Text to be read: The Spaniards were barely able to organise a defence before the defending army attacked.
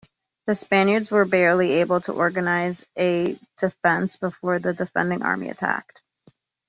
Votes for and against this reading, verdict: 2, 0, accepted